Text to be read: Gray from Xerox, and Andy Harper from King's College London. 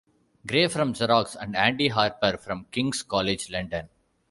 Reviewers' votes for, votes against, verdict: 2, 0, accepted